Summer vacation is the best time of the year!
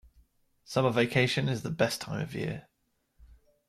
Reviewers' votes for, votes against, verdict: 1, 2, rejected